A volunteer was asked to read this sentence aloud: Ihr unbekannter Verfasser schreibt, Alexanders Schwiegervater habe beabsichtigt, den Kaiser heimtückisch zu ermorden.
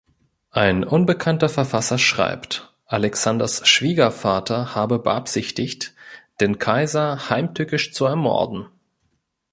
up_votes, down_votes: 1, 2